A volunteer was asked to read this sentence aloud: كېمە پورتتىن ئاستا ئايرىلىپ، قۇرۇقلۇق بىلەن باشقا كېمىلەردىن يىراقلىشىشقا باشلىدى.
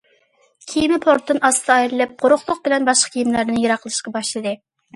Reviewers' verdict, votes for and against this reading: rejected, 1, 2